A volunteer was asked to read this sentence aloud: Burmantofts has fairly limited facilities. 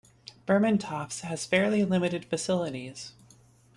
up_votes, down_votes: 2, 0